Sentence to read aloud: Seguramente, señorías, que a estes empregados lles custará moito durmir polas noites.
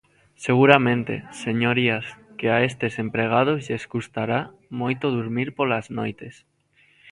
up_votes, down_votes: 2, 0